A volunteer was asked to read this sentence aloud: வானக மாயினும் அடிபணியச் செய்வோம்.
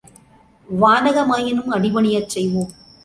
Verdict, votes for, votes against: accepted, 2, 0